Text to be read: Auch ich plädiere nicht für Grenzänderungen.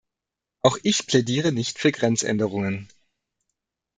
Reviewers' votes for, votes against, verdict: 2, 0, accepted